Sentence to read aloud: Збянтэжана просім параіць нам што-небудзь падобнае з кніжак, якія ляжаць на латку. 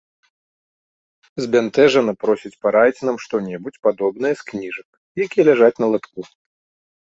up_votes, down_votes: 1, 2